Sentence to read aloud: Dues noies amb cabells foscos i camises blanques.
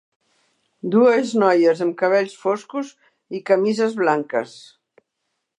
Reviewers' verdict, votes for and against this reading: accepted, 3, 0